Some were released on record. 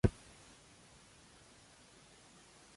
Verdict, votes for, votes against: rejected, 0, 2